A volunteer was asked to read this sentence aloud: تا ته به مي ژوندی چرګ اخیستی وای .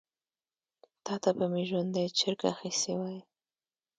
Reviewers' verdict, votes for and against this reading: accepted, 2, 0